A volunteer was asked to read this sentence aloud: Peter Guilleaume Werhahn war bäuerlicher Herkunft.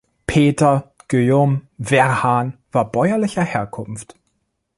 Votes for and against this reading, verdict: 2, 0, accepted